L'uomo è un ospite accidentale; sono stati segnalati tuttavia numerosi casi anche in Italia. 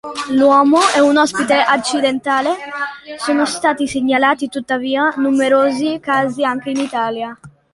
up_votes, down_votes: 2, 0